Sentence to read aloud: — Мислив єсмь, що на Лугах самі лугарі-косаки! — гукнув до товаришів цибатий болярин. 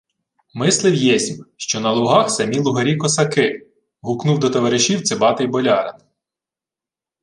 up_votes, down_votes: 2, 0